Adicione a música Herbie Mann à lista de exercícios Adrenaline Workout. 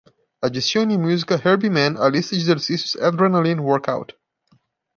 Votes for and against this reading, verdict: 1, 2, rejected